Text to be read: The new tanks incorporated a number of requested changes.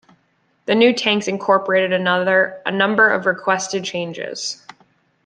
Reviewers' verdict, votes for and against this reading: rejected, 0, 2